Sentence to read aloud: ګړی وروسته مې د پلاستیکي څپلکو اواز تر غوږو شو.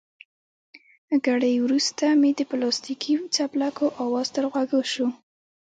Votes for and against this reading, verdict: 2, 0, accepted